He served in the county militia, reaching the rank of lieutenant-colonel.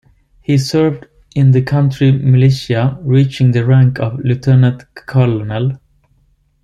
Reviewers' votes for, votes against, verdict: 1, 2, rejected